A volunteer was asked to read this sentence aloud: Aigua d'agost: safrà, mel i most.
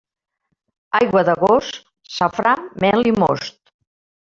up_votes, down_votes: 1, 2